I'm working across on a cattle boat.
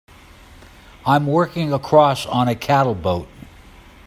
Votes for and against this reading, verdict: 2, 0, accepted